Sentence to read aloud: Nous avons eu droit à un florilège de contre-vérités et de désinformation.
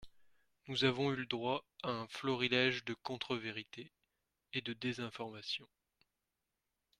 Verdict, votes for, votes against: rejected, 2, 3